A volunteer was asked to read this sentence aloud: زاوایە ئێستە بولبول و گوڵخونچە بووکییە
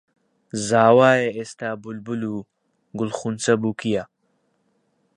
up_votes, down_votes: 2, 0